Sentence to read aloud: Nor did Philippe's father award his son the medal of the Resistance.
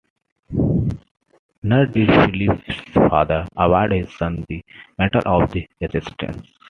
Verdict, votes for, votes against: accepted, 2, 1